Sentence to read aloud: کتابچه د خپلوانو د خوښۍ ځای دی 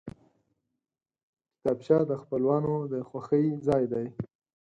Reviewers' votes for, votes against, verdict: 4, 0, accepted